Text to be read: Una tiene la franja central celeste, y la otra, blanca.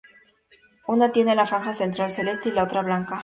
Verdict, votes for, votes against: accepted, 4, 0